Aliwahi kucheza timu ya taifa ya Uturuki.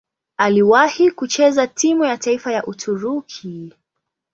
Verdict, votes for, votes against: accepted, 2, 0